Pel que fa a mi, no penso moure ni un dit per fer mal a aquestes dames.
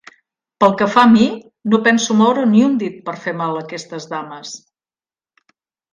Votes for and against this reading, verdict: 2, 0, accepted